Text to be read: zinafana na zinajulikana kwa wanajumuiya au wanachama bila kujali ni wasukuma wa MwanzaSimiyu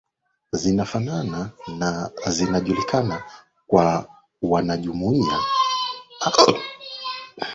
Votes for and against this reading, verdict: 0, 3, rejected